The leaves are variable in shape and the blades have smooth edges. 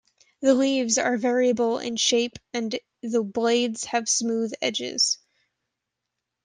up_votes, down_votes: 1, 2